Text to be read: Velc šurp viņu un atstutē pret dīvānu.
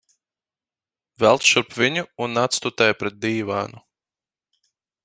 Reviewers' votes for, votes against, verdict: 4, 0, accepted